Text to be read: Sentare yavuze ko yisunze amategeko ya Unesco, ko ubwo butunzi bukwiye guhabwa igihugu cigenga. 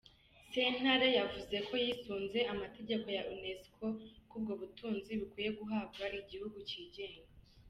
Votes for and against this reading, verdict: 2, 0, accepted